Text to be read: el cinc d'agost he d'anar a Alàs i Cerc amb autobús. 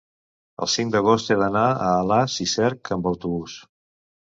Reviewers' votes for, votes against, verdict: 3, 0, accepted